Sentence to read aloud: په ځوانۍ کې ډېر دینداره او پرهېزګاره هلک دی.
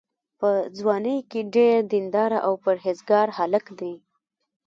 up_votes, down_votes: 1, 2